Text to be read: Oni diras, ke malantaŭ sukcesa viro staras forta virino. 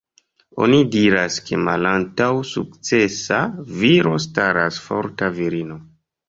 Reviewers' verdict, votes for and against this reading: accepted, 2, 0